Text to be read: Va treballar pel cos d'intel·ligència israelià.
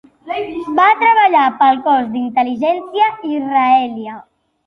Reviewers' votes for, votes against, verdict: 0, 2, rejected